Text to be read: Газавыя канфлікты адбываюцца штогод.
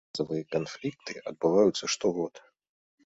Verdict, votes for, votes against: rejected, 1, 2